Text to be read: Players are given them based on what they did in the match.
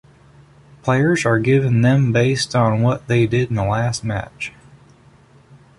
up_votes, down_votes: 0, 3